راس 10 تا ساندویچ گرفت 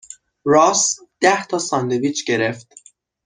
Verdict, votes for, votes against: rejected, 0, 2